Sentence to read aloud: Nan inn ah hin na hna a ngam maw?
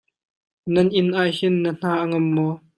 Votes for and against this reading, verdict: 2, 0, accepted